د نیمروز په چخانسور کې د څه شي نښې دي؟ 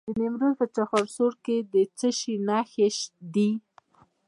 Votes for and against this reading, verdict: 0, 2, rejected